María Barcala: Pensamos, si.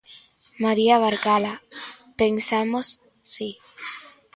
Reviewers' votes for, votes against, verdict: 2, 0, accepted